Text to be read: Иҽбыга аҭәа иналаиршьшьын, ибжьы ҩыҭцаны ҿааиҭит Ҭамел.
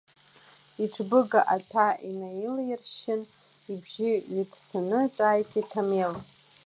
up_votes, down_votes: 2, 0